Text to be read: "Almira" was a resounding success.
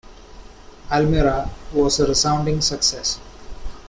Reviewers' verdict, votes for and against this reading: accepted, 2, 1